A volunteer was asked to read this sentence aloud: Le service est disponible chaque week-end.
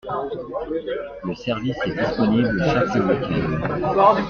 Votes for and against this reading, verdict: 0, 2, rejected